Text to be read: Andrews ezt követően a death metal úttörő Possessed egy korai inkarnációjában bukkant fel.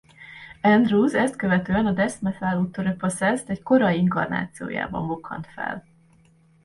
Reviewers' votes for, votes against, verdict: 0, 2, rejected